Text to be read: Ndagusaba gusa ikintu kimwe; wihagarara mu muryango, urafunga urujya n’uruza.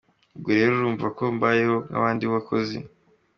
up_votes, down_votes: 0, 2